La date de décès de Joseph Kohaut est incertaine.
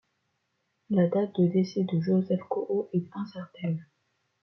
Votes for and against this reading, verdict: 2, 0, accepted